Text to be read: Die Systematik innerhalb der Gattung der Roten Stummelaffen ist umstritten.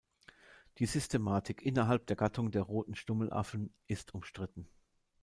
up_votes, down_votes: 2, 0